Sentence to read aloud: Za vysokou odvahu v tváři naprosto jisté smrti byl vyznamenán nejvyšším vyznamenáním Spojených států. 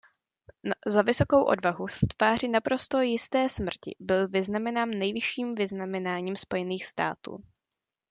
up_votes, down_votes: 1, 2